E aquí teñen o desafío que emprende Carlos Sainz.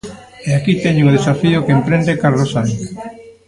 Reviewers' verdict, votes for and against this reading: rejected, 0, 2